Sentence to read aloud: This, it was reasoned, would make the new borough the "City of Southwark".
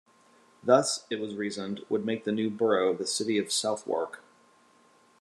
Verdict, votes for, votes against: rejected, 1, 2